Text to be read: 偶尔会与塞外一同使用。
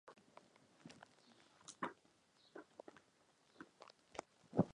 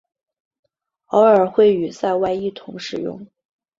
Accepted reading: second